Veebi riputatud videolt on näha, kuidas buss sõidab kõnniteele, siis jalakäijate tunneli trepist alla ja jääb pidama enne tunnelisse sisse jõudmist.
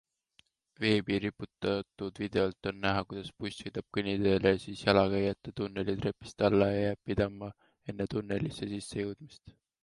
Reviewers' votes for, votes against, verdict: 2, 0, accepted